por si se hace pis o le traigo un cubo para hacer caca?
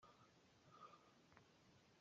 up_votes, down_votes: 0, 2